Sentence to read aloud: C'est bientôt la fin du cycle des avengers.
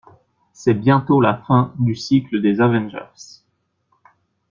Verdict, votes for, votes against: accepted, 2, 0